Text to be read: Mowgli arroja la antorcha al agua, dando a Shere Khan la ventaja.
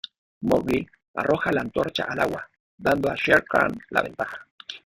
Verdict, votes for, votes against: rejected, 0, 2